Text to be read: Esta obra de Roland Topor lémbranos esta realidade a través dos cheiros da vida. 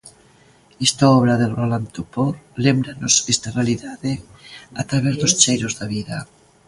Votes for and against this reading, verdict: 1, 2, rejected